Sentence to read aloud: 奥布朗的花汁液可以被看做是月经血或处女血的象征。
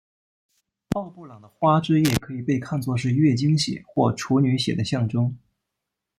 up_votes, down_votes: 1, 2